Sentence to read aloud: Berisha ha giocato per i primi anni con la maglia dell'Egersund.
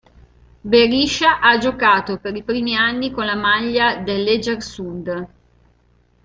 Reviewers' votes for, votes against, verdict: 2, 0, accepted